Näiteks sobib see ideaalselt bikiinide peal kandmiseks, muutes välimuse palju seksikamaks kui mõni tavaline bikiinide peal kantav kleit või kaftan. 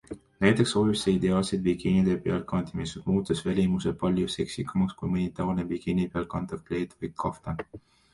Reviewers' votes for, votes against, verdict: 2, 0, accepted